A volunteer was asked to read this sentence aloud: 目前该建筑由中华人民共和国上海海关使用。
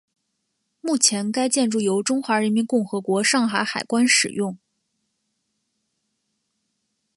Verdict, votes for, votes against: accepted, 2, 0